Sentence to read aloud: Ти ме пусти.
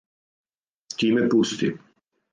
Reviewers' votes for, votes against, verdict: 4, 0, accepted